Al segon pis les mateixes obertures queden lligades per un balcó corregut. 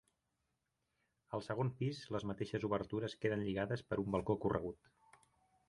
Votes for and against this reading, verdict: 6, 0, accepted